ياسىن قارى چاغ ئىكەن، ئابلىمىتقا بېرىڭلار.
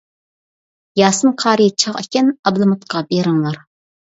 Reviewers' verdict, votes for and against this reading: accepted, 2, 0